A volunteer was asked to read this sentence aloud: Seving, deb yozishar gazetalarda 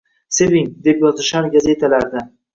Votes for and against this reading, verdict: 2, 0, accepted